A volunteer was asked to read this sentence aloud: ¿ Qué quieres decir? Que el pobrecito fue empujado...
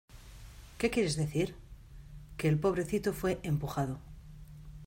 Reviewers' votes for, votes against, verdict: 3, 0, accepted